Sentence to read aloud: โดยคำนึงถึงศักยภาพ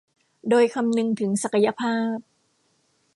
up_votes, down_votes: 2, 0